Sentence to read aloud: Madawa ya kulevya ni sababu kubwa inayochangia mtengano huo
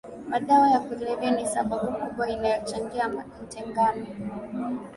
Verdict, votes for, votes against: accepted, 2, 1